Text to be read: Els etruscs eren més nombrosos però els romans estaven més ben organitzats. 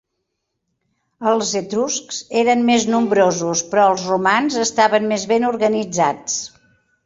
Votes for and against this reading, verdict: 7, 0, accepted